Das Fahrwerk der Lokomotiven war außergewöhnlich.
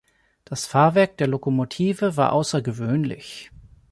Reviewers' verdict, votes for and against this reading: rejected, 0, 2